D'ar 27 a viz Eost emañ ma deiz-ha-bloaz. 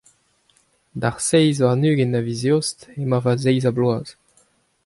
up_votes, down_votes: 0, 2